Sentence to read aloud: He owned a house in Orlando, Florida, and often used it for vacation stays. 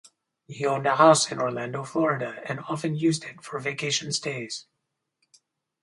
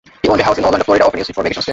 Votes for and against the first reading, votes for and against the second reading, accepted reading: 4, 0, 0, 2, first